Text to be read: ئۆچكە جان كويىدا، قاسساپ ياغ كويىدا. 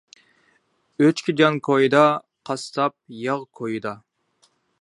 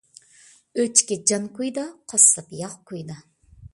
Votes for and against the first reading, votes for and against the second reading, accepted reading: 2, 0, 1, 2, first